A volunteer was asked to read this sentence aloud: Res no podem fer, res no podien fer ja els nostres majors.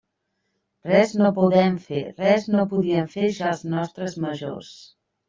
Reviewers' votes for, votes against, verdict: 0, 2, rejected